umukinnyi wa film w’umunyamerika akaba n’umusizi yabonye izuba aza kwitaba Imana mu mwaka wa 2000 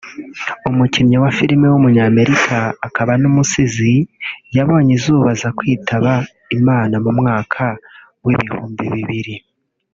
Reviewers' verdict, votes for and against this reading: rejected, 0, 2